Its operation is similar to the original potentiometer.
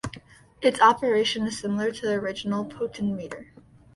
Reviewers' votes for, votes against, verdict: 0, 2, rejected